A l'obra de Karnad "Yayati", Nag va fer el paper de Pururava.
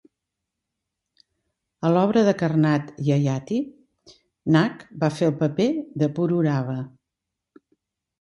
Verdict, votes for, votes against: accepted, 2, 0